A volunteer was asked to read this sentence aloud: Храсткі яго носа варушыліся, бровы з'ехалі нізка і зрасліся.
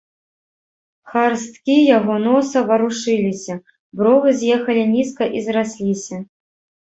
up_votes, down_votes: 1, 2